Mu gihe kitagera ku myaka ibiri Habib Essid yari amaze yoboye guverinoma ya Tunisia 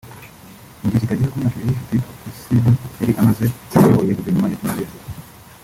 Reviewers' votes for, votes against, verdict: 0, 2, rejected